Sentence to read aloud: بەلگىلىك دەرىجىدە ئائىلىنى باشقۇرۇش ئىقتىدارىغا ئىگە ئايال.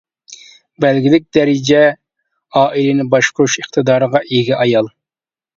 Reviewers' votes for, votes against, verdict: 0, 2, rejected